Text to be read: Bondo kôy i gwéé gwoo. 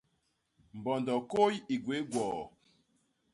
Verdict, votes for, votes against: rejected, 1, 2